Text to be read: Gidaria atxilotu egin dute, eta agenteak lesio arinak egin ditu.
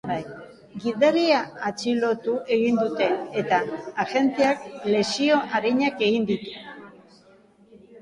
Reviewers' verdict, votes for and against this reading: rejected, 0, 3